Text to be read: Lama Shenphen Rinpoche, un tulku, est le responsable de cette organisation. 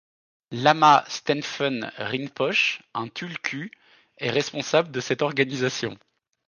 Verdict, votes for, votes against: rejected, 0, 2